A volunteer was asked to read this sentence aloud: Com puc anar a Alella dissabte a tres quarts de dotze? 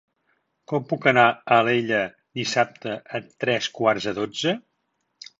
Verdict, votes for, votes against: accepted, 2, 0